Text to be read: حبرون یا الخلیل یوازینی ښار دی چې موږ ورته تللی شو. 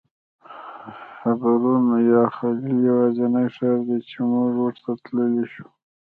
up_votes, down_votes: 1, 2